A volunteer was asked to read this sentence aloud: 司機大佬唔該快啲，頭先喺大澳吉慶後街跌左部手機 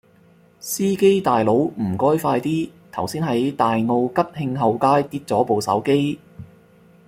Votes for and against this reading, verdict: 2, 0, accepted